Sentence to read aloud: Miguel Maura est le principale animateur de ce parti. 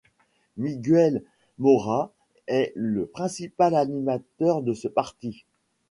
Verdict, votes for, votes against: accepted, 2, 0